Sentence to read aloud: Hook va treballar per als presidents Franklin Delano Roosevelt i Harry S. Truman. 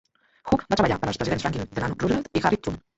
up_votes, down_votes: 0, 2